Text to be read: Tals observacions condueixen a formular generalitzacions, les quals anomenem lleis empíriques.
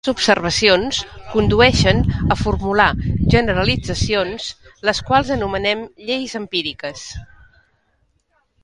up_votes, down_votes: 0, 2